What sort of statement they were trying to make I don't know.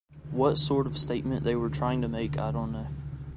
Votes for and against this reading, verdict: 2, 0, accepted